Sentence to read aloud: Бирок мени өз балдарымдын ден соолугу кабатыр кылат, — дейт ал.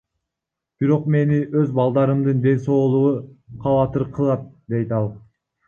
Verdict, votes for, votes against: rejected, 0, 2